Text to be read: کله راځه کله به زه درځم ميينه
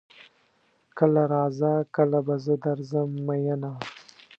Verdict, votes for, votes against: accepted, 2, 0